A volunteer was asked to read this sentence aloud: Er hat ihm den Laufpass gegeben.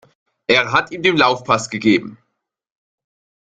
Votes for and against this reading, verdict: 2, 0, accepted